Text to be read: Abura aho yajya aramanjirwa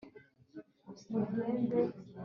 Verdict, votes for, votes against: rejected, 0, 2